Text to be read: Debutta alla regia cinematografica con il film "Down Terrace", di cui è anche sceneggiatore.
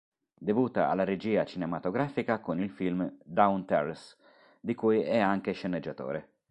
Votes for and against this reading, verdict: 4, 0, accepted